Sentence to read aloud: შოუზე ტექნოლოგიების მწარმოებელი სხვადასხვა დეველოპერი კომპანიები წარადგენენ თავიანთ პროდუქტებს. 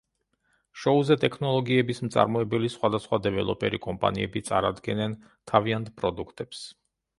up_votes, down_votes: 2, 0